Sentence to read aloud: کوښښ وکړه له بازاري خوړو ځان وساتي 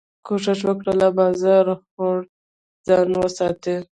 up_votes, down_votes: 1, 2